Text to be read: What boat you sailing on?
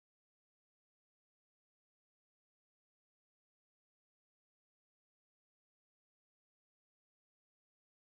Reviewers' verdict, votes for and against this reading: rejected, 0, 2